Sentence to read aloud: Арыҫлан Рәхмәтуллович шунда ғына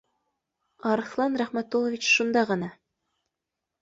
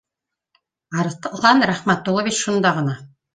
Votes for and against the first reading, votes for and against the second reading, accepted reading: 2, 0, 1, 2, first